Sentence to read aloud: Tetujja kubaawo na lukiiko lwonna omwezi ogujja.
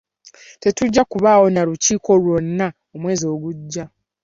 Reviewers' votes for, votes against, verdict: 2, 0, accepted